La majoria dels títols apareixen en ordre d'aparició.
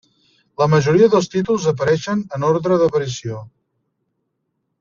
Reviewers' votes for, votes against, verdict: 3, 0, accepted